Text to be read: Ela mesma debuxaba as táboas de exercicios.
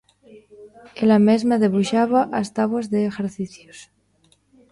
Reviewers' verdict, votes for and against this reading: rejected, 0, 2